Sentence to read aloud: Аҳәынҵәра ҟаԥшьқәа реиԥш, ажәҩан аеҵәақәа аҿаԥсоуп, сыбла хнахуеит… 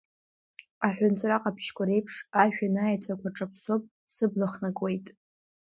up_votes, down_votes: 2, 0